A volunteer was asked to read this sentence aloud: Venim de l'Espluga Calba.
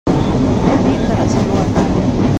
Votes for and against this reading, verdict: 1, 2, rejected